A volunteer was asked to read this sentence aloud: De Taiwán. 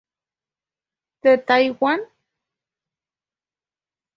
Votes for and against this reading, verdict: 2, 0, accepted